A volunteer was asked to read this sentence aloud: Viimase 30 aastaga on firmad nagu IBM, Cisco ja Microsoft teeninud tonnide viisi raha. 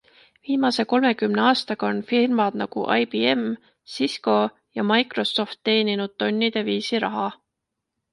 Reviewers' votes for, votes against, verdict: 0, 2, rejected